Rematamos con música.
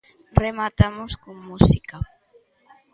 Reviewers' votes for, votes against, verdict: 2, 0, accepted